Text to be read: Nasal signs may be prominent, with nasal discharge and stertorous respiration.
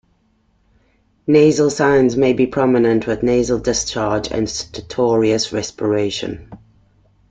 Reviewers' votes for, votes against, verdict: 2, 0, accepted